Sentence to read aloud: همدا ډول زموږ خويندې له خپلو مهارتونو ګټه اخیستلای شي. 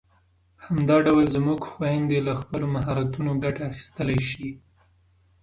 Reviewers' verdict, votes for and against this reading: accepted, 2, 0